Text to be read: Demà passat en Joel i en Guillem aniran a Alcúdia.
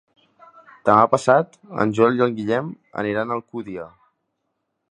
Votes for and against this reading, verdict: 0, 2, rejected